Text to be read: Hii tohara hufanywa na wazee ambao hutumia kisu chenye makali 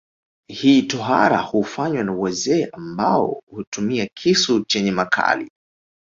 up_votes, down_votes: 1, 2